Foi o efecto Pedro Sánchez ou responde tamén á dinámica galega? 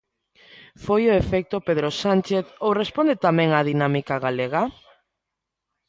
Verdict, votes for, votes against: accepted, 2, 0